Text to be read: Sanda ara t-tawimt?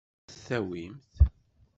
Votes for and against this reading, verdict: 1, 2, rejected